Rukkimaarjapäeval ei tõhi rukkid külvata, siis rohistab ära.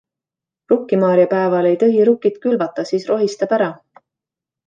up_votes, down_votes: 2, 0